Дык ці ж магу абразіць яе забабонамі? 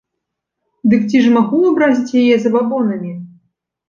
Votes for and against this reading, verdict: 2, 0, accepted